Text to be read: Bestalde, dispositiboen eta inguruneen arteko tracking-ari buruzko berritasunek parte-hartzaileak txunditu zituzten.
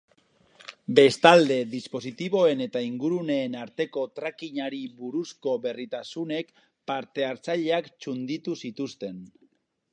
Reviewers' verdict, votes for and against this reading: rejected, 2, 2